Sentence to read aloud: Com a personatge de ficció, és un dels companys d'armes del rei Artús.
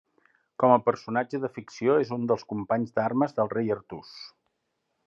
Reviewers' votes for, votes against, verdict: 3, 0, accepted